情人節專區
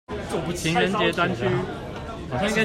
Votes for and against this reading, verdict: 2, 0, accepted